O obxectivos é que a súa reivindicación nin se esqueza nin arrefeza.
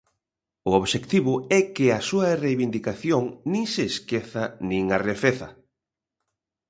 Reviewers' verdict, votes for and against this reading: rejected, 1, 2